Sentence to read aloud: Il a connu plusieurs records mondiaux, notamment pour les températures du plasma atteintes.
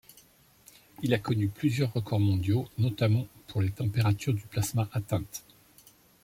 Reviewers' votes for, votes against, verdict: 2, 0, accepted